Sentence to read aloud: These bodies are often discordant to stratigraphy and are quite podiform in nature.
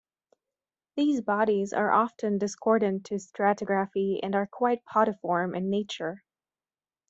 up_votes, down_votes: 2, 0